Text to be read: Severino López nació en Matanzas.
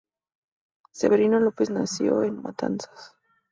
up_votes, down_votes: 2, 0